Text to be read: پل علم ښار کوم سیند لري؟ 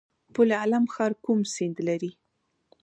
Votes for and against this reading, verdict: 0, 2, rejected